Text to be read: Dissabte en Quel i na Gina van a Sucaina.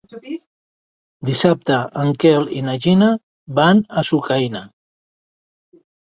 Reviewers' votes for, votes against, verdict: 1, 2, rejected